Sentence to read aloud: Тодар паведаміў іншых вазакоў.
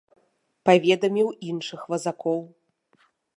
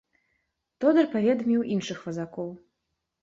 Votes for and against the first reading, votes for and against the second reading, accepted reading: 0, 2, 2, 0, second